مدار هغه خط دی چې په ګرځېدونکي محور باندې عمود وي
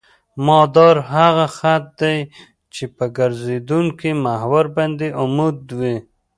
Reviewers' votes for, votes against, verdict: 1, 2, rejected